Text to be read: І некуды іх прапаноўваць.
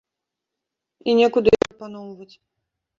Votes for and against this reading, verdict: 0, 2, rejected